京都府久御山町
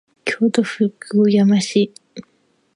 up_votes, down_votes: 0, 2